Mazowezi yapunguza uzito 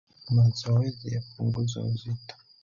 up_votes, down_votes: 0, 3